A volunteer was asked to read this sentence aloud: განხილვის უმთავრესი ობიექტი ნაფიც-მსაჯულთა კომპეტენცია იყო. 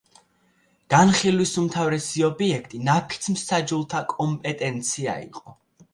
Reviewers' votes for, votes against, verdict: 2, 0, accepted